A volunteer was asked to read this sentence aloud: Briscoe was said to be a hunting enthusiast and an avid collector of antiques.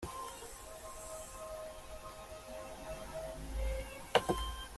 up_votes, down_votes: 0, 2